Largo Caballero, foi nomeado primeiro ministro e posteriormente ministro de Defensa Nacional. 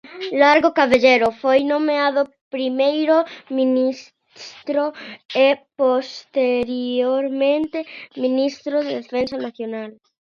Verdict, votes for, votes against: rejected, 0, 2